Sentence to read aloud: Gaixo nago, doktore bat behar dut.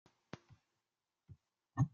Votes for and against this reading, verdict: 0, 2, rejected